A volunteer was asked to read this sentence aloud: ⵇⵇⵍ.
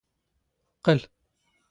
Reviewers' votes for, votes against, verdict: 2, 0, accepted